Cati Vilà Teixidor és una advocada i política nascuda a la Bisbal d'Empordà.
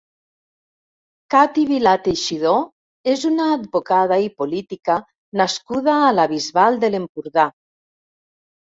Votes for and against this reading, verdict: 1, 2, rejected